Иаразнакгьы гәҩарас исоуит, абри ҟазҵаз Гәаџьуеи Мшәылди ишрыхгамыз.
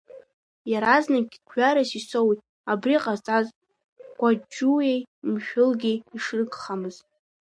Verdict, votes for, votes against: rejected, 1, 2